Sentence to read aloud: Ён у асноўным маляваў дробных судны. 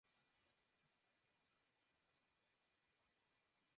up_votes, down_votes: 0, 2